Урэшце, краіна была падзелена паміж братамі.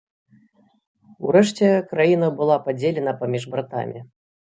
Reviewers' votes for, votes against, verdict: 3, 0, accepted